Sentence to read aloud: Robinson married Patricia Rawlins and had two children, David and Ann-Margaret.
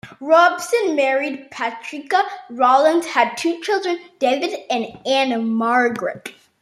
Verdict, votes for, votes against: rejected, 0, 2